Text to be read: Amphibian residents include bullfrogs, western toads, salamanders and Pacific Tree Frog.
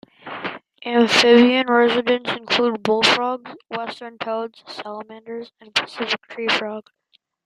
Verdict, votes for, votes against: rejected, 1, 2